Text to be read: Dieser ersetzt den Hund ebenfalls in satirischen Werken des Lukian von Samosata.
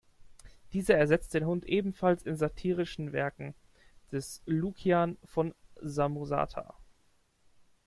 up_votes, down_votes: 2, 0